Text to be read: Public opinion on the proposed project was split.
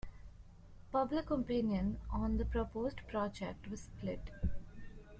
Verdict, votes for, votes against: rejected, 1, 2